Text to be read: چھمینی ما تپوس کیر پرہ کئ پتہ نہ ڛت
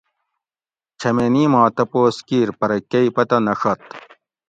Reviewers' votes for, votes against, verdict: 2, 0, accepted